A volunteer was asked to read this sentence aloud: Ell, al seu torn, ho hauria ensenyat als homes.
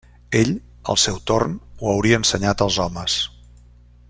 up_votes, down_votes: 2, 0